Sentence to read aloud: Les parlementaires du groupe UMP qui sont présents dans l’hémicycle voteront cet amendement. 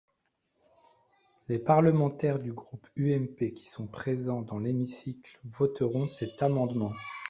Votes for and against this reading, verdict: 2, 0, accepted